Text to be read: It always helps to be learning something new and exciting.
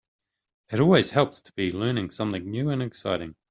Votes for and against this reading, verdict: 2, 0, accepted